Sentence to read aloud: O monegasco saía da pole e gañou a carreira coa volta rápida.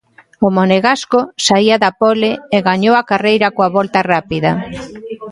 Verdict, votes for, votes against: accepted, 2, 1